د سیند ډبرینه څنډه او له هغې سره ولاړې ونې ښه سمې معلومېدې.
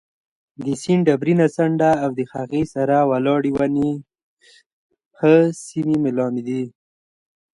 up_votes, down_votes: 1, 2